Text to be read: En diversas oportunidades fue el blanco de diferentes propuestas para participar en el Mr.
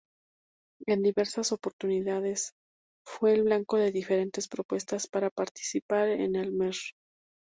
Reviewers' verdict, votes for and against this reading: rejected, 2, 4